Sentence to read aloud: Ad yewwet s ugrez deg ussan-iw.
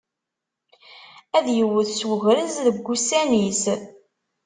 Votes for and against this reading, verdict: 1, 2, rejected